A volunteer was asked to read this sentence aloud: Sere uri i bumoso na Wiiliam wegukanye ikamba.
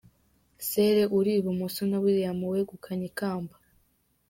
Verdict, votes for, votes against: accepted, 2, 0